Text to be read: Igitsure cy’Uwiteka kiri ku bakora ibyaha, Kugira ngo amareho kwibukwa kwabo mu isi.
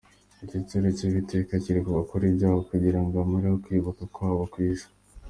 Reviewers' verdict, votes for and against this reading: accepted, 2, 0